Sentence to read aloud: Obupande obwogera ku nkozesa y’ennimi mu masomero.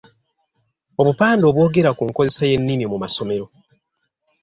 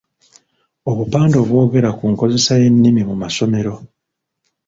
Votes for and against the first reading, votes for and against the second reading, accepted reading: 2, 0, 0, 2, first